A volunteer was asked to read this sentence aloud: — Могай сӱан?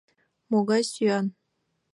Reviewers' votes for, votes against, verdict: 3, 1, accepted